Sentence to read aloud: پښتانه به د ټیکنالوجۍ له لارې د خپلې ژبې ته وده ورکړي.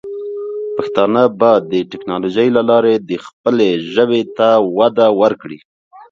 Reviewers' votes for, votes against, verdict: 1, 2, rejected